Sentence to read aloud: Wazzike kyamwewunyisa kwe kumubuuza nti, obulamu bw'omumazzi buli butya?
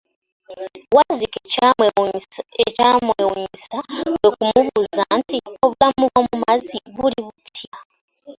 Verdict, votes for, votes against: rejected, 0, 2